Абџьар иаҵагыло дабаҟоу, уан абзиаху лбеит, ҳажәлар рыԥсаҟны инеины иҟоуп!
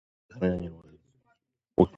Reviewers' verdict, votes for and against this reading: rejected, 1, 2